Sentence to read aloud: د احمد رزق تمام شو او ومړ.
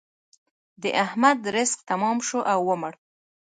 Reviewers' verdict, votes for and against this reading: accepted, 2, 0